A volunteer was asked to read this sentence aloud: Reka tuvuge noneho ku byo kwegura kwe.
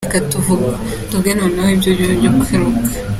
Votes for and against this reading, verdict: 0, 3, rejected